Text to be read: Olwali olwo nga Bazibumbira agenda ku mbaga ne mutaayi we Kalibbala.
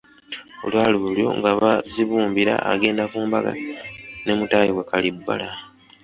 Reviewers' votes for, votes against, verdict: 2, 1, accepted